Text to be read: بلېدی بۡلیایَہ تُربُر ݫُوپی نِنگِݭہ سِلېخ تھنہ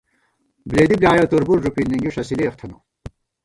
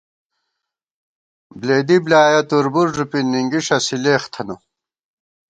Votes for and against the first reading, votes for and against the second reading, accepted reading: 1, 2, 2, 0, second